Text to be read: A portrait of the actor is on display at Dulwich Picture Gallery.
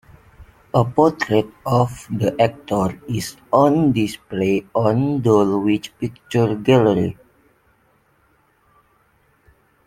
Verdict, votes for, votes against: rejected, 0, 2